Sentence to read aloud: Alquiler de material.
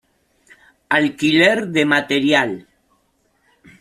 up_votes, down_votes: 2, 0